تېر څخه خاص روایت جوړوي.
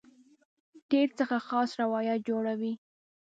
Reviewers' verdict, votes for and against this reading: accepted, 2, 0